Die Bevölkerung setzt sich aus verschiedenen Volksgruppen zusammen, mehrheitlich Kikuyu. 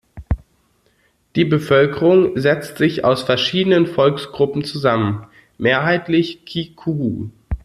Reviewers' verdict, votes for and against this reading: rejected, 1, 2